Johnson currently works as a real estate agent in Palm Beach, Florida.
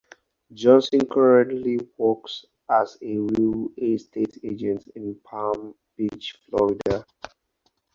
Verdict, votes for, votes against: accepted, 4, 0